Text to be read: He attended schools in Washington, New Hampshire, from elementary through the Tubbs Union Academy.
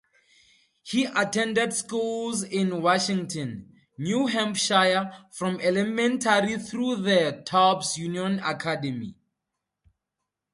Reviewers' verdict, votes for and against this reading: accepted, 2, 0